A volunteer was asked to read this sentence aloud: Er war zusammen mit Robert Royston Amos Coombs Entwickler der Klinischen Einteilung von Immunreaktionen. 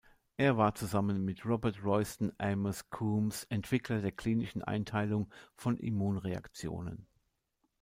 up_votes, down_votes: 2, 0